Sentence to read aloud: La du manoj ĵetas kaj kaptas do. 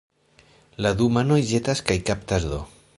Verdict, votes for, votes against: accepted, 3, 0